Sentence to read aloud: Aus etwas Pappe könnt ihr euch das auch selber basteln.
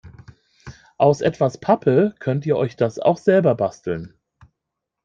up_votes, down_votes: 2, 1